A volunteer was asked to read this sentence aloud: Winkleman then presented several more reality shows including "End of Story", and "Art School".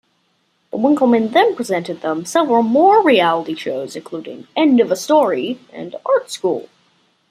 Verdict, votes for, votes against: rejected, 1, 2